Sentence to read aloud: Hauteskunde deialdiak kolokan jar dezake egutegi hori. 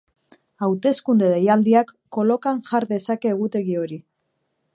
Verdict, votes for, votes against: accepted, 2, 0